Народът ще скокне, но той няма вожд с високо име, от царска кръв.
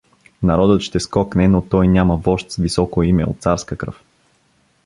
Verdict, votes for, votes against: accepted, 2, 0